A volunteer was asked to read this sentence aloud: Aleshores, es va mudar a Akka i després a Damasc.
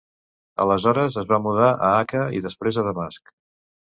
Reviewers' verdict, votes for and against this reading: accepted, 2, 0